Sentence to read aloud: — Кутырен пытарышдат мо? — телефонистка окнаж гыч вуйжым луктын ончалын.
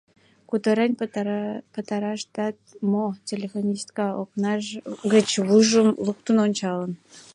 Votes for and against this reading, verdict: 0, 2, rejected